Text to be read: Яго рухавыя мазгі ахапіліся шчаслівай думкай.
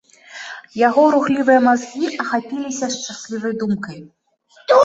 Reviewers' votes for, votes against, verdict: 1, 2, rejected